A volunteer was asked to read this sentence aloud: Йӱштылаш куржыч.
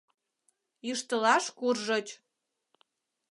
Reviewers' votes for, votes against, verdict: 2, 0, accepted